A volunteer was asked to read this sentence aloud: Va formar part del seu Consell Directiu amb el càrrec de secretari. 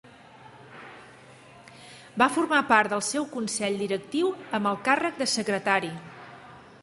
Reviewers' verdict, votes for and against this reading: accepted, 2, 0